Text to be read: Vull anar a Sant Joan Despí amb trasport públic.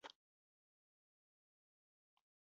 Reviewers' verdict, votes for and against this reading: rejected, 0, 3